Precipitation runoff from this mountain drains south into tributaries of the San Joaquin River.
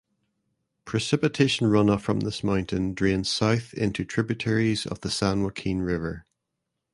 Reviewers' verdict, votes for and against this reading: accepted, 2, 0